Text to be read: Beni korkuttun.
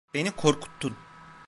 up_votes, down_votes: 2, 0